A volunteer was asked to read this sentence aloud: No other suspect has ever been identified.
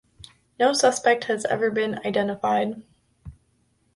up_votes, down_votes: 0, 2